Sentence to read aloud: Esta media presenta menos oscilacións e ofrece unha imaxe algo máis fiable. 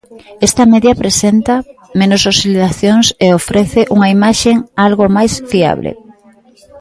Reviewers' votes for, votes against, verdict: 0, 2, rejected